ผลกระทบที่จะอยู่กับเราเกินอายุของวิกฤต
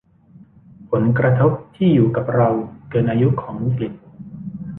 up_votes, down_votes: 0, 2